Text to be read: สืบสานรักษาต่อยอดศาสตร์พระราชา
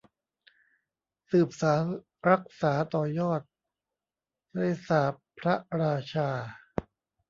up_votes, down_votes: 0, 2